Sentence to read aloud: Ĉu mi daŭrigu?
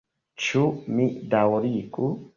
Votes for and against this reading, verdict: 0, 2, rejected